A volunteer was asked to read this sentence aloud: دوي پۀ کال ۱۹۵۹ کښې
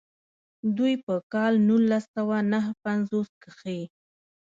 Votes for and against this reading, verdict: 0, 2, rejected